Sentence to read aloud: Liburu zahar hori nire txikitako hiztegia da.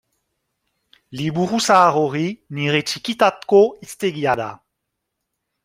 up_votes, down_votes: 3, 1